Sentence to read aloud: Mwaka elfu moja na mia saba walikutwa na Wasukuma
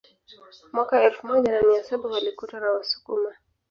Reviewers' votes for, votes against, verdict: 2, 1, accepted